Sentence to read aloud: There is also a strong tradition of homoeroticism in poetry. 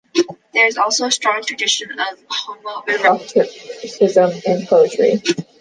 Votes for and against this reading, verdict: 1, 2, rejected